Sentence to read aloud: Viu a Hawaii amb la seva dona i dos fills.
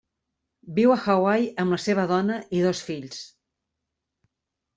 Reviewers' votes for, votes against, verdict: 3, 0, accepted